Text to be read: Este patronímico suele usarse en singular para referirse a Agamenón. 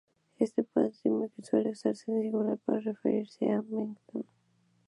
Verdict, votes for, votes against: rejected, 0, 2